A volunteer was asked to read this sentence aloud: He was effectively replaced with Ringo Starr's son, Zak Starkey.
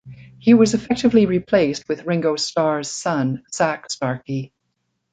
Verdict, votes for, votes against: rejected, 0, 2